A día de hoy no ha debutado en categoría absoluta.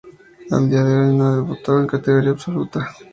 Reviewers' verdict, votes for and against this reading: accepted, 2, 0